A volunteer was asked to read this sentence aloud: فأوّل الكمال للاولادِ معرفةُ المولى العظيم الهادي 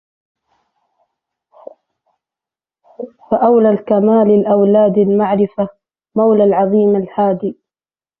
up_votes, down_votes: 0, 2